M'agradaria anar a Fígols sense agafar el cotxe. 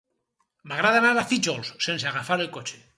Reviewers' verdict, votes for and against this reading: rejected, 0, 4